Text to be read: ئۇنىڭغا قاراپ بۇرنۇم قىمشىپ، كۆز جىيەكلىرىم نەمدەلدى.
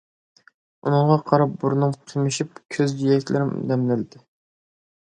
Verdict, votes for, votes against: rejected, 1, 2